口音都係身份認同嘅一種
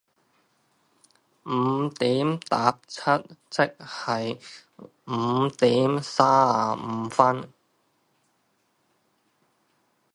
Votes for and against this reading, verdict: 0, 2, rejected